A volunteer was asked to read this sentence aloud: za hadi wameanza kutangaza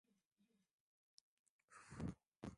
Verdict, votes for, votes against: rejected, 0, 2